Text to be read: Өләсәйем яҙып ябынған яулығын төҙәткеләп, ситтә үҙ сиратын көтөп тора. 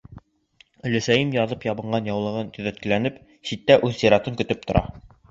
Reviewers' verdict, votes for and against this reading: rejected, 0, 2